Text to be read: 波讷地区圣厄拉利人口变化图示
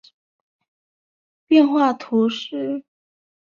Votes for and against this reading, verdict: 0, 2, rejected